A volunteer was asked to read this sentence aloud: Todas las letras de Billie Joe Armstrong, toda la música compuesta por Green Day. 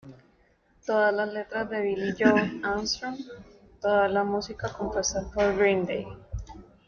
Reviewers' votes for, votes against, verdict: 0, 2, rejected